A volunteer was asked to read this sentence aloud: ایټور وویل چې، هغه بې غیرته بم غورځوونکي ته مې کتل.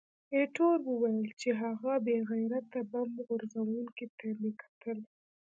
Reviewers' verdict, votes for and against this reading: rejected, 1, 2